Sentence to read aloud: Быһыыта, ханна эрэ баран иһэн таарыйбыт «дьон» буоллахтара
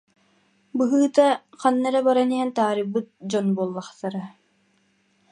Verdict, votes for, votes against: accepted, 2, 0